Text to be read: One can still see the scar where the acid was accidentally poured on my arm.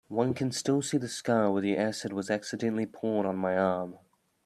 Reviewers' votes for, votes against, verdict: 2, 0, accepted